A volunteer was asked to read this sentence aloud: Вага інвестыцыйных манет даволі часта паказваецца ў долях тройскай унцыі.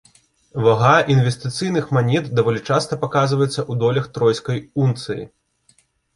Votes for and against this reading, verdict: 2, 0, accepted